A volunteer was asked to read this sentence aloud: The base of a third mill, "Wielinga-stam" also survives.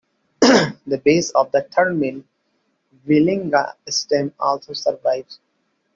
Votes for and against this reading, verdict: 2, 0, accepted